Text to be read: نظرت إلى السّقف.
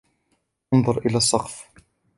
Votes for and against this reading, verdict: 0, 2, rejected